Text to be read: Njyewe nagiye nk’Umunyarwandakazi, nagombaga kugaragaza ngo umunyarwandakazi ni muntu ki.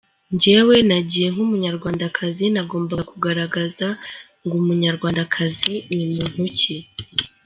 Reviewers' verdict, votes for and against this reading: accepted, 2, 0